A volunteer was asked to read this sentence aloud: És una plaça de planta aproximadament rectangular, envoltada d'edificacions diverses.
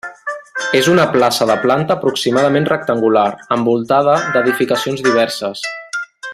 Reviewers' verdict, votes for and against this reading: rejected, 1, 2